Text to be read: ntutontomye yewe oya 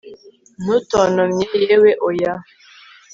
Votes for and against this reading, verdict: 3, 0, accepted